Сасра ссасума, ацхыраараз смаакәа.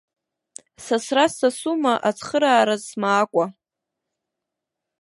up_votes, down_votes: 2, 1